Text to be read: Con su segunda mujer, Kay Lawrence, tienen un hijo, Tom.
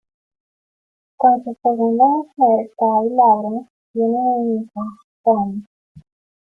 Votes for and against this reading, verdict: 2, 1, accepted